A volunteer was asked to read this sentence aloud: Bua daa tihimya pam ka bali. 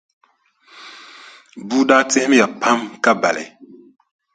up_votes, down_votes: 2, 0